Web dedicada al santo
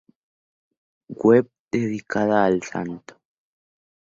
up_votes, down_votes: 2, 0